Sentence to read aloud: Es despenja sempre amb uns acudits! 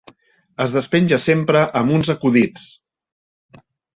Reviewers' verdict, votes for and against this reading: accepted, 3, 0